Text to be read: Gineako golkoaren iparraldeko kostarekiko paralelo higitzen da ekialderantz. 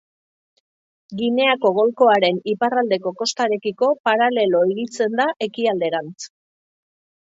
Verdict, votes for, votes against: accepted, 3, 0